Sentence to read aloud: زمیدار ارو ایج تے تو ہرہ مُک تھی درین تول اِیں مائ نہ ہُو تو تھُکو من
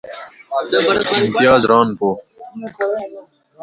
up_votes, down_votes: 0, 2